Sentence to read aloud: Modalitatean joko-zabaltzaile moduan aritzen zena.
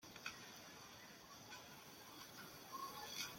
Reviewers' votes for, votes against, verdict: 0, 2, rejected